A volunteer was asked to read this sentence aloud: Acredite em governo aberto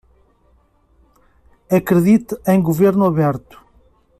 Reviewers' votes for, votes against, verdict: 2, 0, accepted